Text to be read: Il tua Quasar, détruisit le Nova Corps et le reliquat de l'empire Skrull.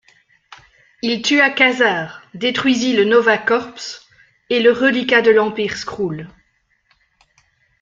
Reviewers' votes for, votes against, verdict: 2, 0, accepted